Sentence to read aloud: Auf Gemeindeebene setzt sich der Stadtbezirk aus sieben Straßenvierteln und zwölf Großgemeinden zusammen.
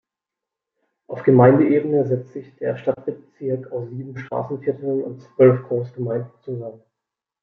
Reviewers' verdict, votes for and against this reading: accepted, 2, 1